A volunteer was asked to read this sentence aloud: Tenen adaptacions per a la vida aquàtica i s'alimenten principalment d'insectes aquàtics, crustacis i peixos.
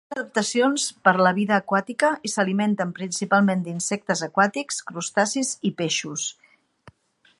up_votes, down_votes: 0, 2